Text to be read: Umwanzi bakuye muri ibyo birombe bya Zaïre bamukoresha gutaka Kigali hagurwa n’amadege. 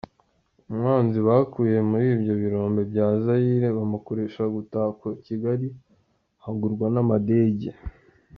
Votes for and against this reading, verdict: 2, 0, accepted